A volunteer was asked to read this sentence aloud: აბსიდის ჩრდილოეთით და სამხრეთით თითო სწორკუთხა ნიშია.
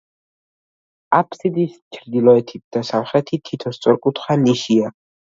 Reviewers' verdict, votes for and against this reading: rejected, 1, 2